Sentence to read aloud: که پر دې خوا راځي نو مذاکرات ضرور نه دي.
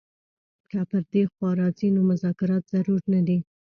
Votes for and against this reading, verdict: 2, 0, accepted